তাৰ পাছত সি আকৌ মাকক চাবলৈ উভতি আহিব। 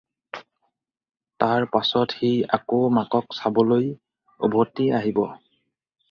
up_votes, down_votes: 4, 0